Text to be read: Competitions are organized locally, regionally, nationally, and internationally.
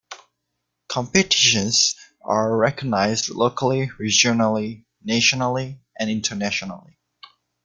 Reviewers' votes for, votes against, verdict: 1, 2, rejected